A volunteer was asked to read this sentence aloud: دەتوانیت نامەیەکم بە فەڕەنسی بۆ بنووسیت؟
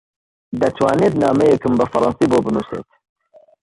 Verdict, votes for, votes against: rejected, 0, 2